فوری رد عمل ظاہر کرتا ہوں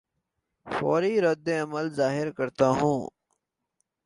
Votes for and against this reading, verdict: 2, 0, accepted